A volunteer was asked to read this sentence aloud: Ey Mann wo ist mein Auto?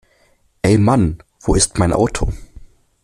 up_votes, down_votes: 2, 0